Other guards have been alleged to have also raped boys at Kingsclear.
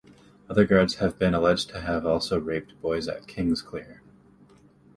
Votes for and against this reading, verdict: 2, 0, accepted